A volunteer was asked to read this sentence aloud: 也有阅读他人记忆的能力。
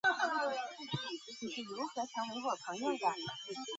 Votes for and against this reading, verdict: 0, 3, rejected